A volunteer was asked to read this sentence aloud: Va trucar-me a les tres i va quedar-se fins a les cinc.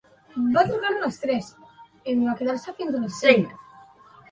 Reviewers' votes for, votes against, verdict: 1, 2, rejected